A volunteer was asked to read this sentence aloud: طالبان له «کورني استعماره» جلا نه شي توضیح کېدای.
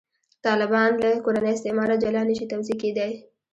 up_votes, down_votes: 2, 0